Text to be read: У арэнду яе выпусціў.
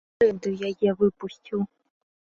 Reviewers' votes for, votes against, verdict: 0, 2, rejected